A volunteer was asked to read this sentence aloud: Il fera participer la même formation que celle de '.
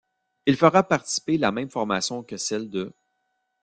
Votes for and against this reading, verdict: 1, 2, rejected